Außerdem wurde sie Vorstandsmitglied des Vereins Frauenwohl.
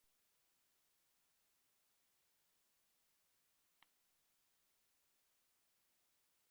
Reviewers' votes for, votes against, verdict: 0, 2, rejected